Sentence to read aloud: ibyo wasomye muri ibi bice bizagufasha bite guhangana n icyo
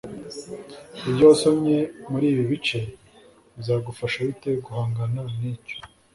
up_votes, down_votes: 2, 0